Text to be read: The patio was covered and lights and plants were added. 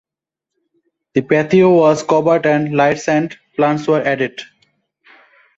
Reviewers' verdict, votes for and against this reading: accepted, 2, 0